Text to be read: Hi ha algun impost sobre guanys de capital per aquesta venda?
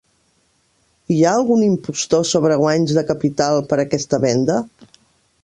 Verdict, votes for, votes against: rejected, 1, 2